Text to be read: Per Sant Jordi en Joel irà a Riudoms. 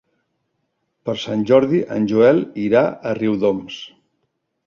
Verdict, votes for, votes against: accepted, 3, 0